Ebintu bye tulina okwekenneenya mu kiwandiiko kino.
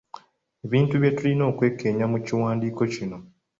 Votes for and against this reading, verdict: 2, 1, accepted